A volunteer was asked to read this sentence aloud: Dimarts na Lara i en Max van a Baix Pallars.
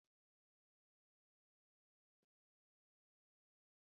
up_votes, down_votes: 0, 2